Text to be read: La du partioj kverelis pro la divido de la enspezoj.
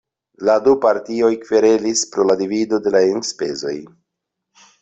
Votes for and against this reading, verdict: 2, 0, accepted